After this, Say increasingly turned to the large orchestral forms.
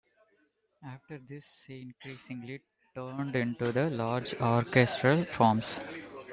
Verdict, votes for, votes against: rejected, 1, 2